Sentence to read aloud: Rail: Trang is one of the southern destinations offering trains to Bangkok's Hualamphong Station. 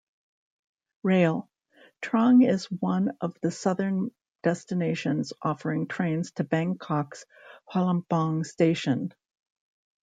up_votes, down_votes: 0, 2